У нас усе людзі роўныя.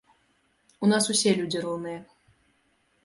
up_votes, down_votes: 2, 0